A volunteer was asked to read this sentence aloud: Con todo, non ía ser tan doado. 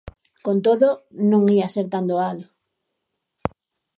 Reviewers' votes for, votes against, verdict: 2, 0, accepted